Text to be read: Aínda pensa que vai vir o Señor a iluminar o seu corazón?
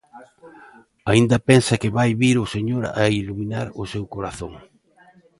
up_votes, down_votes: 2, 0